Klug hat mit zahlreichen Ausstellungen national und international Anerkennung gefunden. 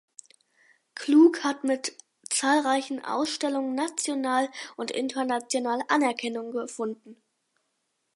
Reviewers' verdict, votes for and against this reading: rejected, 2, 4